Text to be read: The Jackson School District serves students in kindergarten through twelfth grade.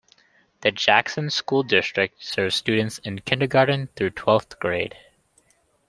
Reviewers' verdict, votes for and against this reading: accepted, 2, 1